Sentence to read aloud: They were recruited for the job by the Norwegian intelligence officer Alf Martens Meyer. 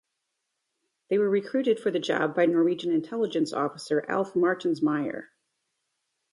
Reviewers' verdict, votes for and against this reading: accepted, 2, 1